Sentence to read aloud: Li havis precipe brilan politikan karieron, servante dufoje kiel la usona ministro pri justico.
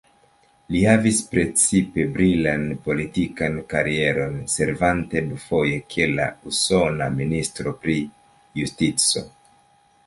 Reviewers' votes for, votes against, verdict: 2, 1, accepted